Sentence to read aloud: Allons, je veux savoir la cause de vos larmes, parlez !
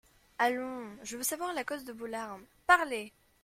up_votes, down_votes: 2, 0